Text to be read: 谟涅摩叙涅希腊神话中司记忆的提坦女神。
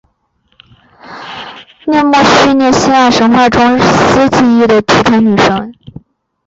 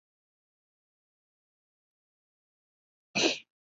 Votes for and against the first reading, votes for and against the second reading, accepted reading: 2, 0, 0, 6, first